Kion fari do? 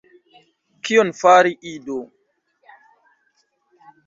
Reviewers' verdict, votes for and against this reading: rejected, 1, 2